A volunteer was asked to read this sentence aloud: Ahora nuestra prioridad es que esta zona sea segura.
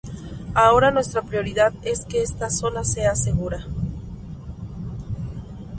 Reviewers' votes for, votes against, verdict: 2, 0, accepted